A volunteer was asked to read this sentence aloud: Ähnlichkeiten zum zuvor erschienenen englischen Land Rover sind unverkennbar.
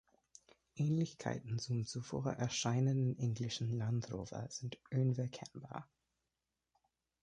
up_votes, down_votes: 0, 2